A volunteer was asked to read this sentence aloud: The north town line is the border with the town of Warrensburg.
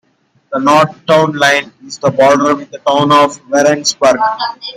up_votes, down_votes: 0, 2